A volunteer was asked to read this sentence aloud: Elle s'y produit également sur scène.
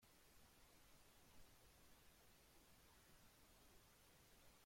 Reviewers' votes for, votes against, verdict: 0, 2, rejected